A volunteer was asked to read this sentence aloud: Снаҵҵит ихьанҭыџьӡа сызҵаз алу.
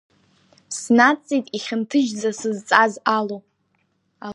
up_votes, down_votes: 0, 2